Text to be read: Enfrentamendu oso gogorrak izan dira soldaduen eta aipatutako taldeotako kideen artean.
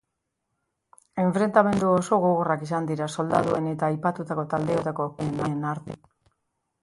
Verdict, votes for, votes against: rejected, 1, 2